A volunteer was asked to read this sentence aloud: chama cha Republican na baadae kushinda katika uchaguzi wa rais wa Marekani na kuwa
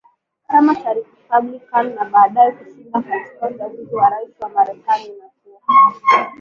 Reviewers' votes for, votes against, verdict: 7, 2, accepted